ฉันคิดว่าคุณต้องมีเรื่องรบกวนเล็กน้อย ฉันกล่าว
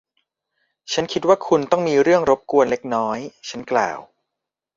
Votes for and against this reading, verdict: 0, 2, rejected